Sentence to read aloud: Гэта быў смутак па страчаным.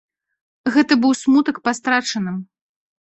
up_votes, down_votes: 2, 0